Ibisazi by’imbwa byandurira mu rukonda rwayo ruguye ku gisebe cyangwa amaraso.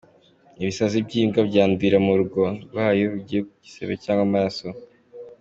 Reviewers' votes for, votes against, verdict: 2, 1, accepted